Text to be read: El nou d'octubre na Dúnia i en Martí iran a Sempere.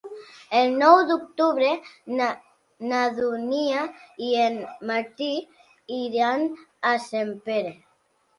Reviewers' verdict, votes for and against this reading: rejected, 1, 2